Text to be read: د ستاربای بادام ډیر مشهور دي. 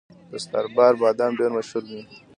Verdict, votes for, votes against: accepted, 2, 0